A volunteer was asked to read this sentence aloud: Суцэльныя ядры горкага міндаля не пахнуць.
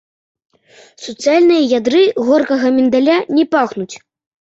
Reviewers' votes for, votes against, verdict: 2, 0, accepted